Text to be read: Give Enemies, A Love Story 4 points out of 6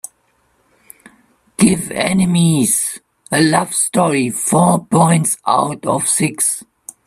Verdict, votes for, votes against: rejected, 0, 2